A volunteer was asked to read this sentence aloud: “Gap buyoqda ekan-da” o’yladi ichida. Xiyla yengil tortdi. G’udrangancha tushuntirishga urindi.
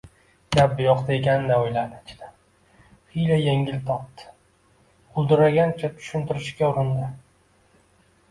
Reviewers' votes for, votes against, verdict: 0, 2, rejected